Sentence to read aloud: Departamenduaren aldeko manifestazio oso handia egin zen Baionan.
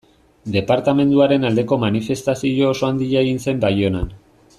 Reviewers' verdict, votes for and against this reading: accepted, 2, 0